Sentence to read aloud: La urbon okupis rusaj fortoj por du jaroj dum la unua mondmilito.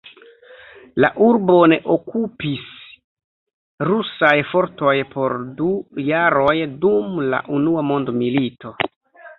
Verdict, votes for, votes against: rejected, 0, 2